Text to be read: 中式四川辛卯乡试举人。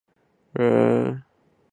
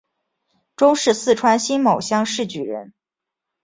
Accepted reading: second